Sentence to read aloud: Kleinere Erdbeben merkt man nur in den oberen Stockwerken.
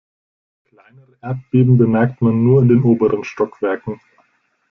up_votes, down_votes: 0, 2